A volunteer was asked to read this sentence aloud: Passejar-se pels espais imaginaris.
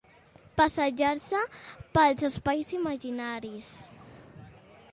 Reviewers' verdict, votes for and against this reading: accepted, 2, 0